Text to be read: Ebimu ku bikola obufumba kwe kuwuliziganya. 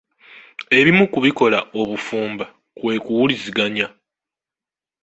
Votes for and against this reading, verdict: 2, 0, accepted